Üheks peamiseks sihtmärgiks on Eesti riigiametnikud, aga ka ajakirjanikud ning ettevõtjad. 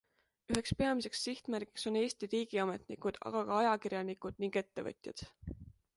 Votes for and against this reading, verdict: 2, 0, accepted